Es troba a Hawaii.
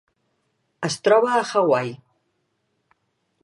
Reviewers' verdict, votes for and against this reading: accepted, 3, 0